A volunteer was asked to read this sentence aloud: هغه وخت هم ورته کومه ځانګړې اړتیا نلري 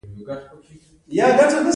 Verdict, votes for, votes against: accepted, 2, 0